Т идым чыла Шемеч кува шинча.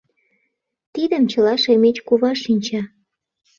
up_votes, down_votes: 1, 2